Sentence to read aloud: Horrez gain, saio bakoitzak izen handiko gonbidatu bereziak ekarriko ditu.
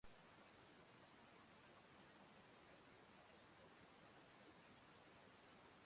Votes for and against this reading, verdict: 0, 2, rejected